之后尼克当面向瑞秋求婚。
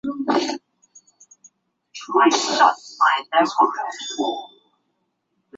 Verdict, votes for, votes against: rejected, 0, 2